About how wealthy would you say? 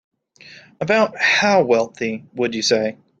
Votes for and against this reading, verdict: 2, 0, accepted